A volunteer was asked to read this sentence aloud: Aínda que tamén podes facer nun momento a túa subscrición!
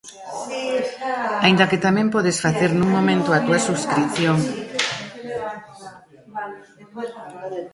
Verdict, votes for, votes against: rejected, 1, 2